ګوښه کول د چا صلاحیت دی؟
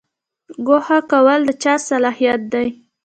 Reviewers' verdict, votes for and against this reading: rejected, 1, 2